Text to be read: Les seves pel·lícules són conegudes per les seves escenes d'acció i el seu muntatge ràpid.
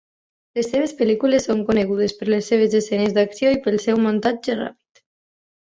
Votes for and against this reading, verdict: 0, 2, rejected